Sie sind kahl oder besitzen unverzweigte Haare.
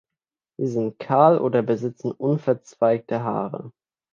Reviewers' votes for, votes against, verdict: 2, 0, accepted